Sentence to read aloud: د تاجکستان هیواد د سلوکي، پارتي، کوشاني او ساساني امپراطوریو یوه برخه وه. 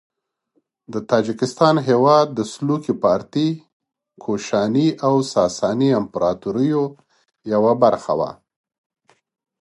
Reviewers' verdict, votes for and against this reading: rejected, 1, 2